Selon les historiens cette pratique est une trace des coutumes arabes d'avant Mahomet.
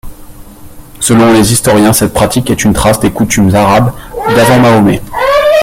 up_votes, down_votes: 2, 0